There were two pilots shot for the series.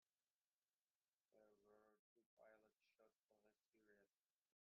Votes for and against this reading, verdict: 0, 2, rejected